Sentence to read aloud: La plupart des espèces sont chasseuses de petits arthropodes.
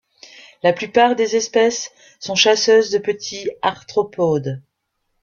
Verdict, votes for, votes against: rejected, 1, 2